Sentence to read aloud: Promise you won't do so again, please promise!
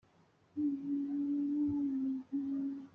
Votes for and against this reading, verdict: 0, 2, rejected